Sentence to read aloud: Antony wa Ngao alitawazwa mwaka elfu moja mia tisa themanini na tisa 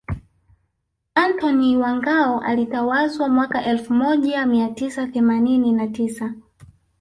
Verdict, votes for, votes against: rejected, 0, 2